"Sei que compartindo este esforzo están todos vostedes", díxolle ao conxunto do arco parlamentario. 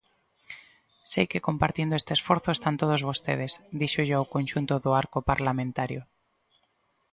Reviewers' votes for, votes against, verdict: 2, 0, accepted